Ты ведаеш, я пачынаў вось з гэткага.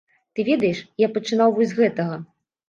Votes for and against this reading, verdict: 1, 2, rejected